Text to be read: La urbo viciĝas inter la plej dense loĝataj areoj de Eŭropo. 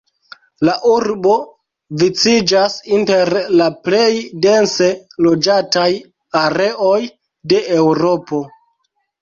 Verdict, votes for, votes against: accepted, 2, 0